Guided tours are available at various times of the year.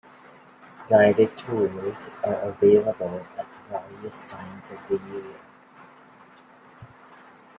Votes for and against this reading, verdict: 0, 2, rejected